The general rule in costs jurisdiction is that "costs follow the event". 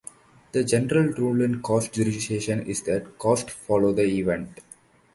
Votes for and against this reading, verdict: 1, 2, rejected